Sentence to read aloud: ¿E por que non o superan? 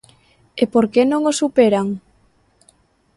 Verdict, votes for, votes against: accepted, 2, 0